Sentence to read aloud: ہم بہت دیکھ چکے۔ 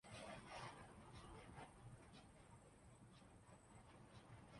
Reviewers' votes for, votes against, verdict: 0, 4, rejected